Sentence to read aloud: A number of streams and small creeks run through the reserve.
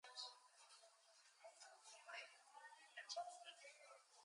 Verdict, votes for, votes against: accepted, 2, 0